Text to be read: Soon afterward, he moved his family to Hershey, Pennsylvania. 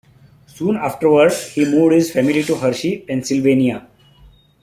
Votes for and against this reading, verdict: 0, 2, rejected